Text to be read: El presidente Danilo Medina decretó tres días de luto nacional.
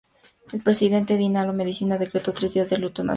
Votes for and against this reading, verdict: 0, 2, rejected